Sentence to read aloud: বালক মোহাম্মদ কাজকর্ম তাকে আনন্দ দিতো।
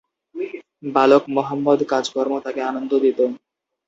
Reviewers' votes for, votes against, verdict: 2, 0, accepted